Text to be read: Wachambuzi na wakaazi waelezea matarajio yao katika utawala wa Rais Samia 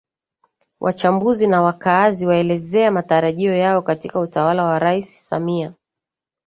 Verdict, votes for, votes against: accepted, 2, 0